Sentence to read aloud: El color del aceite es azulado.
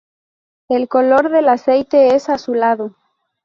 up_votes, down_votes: 2, 0